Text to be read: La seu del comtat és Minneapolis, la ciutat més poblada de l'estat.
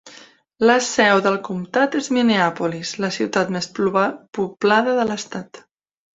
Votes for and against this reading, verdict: 0, 2, rejected